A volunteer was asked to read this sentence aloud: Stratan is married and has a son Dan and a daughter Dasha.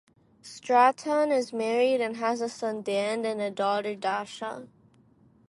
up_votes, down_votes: 2, 2